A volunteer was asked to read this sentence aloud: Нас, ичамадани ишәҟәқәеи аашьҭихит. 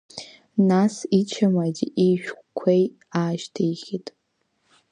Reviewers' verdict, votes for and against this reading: rejected, 1, 2